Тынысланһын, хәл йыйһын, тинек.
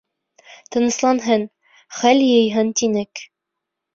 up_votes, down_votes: 2, 0